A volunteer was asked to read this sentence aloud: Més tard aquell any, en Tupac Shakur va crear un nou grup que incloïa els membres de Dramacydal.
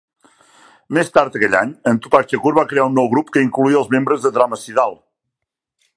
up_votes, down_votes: 0, 2